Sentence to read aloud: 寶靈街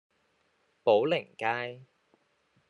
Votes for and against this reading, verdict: 2, 0, accepted